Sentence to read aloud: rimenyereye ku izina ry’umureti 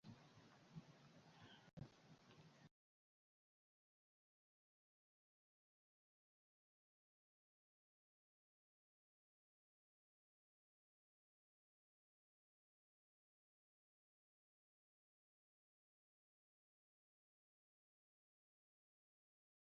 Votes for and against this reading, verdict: 0, 2, rejected